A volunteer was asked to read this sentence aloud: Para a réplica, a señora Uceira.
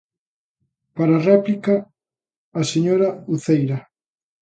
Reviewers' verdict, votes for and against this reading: accepted, 2, 0